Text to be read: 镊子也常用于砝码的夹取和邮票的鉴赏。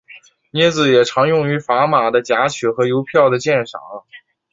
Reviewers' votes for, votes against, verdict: 3, 0, accepted